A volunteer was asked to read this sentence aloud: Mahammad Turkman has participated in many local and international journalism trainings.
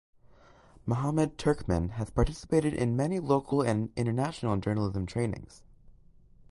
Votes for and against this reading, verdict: 2, 1, accepted